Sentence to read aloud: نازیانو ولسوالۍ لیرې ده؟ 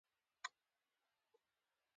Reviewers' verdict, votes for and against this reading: rejected, 0, 2